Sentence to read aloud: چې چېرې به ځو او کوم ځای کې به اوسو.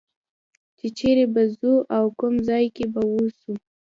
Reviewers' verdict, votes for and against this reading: accepted, 2, 0